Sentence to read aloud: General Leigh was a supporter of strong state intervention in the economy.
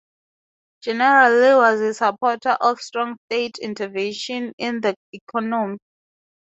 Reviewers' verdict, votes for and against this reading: rejected, 0, 4